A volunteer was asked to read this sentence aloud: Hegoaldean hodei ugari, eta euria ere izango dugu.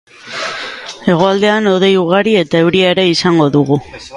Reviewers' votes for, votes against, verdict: 3, 6, rejected